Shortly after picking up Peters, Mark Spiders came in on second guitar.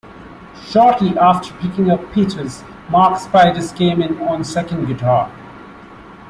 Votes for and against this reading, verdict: 2, 1, accepted